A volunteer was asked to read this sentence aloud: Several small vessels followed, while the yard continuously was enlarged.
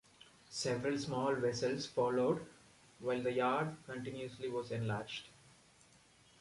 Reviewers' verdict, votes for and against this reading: accepted, 2, 0